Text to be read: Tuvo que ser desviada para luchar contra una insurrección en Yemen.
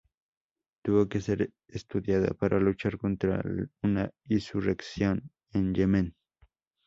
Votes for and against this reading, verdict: 0, 2, rejected